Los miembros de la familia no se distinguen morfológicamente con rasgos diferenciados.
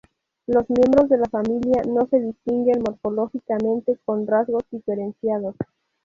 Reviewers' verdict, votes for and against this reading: rejected, 0, 2